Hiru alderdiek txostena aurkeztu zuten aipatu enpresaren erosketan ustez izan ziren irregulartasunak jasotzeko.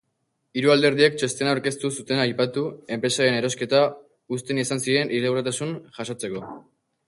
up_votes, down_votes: 4, 0